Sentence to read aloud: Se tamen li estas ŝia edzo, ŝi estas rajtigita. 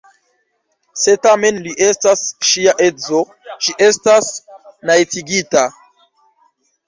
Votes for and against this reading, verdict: 0, 2, rejected